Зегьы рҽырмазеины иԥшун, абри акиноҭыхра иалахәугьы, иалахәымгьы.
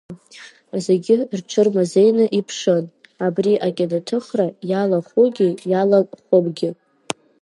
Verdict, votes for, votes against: rejected, 0, 2